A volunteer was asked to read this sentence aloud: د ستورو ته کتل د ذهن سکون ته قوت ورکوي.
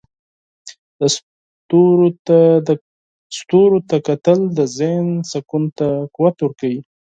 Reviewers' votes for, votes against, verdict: 0, 4, rejected